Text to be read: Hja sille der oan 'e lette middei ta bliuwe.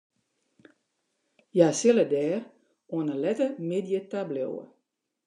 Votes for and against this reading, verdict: 1, 2, rejected